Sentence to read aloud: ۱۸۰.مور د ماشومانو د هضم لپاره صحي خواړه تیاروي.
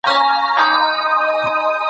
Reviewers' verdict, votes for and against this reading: rejected, 0, 2